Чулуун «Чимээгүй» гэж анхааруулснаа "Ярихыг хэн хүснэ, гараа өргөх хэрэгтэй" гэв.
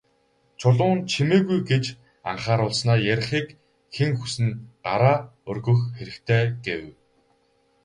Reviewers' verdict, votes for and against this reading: rejected, 0, 2